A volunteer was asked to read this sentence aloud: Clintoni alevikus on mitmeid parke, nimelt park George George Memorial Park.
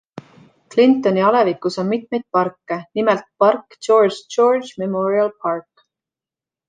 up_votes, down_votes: 2, 0